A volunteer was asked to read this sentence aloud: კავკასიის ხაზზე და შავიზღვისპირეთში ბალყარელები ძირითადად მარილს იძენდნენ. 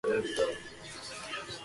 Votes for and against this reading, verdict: 0, 2, rejected